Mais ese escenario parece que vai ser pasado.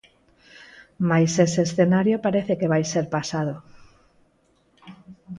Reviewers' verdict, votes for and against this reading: accepted, 4, 2